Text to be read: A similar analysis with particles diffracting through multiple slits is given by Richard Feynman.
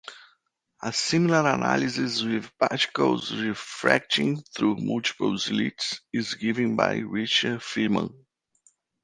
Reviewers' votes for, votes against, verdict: 1, 2, rejected